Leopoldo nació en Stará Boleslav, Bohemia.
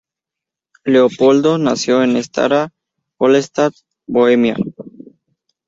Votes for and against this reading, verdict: 2, 0, accepted